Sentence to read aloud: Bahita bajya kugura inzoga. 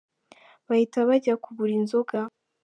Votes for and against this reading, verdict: 2, 0, accepted